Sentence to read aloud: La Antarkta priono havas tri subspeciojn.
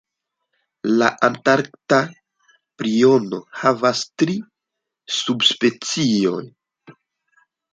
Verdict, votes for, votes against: rejected, 1, 2